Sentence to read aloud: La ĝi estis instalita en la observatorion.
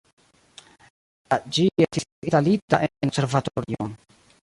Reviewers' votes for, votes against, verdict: 1, 2, rejected